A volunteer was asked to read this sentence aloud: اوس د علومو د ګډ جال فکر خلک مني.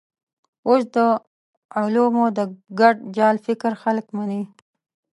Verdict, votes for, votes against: accepted, 2, 0